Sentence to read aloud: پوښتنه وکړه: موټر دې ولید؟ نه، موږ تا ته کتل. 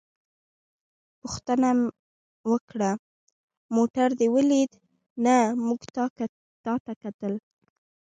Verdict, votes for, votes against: accepted, 2, 1